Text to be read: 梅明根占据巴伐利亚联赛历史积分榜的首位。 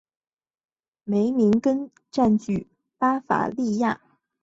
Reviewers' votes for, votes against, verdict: 0, 3, rejected